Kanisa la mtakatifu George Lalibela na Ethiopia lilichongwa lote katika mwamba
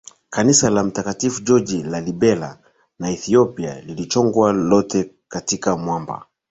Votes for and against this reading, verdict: 2, 0, accepted